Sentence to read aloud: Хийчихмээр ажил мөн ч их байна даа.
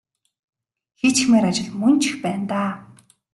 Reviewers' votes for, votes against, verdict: 2, 1, accepted